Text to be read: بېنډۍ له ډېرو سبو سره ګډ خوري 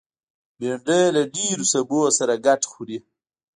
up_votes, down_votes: 1, 2